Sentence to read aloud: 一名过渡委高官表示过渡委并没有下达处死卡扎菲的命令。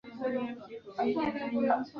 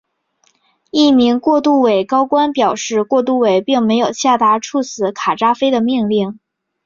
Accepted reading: second